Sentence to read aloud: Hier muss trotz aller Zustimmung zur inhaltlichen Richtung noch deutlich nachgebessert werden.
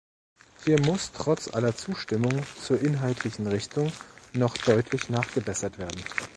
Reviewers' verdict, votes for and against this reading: accepted, 2, 0